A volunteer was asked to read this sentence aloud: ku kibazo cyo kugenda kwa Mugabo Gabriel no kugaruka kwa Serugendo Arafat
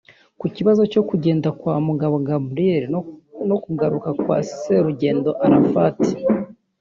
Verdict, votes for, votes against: rejected, 0, 2